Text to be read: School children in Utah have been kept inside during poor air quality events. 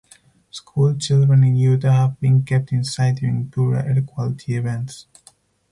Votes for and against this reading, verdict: 4, 0, accepted